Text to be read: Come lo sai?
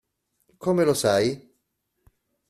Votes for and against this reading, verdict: 2, 0, accepted